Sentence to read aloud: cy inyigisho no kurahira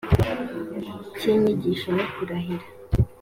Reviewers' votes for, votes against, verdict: 4, 1, accepted